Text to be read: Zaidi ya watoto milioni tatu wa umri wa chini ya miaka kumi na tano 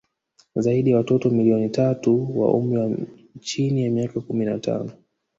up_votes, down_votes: 4, 0